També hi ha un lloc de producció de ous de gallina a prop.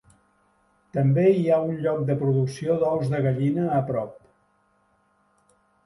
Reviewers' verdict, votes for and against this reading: rejected, 0, 2